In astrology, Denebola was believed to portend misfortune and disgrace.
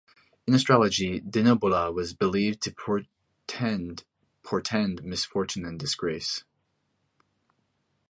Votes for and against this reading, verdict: 1, 2, rejected